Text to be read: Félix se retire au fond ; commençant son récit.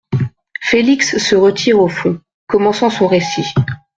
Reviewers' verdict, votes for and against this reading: accepted, 2, 0